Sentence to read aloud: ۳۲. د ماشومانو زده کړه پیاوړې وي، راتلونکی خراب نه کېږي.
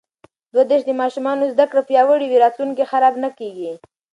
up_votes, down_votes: 0, 2